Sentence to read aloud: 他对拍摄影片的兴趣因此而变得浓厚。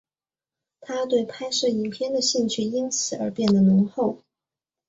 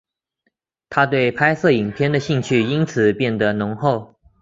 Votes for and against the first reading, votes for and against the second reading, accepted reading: 2, 0, 1, 2, first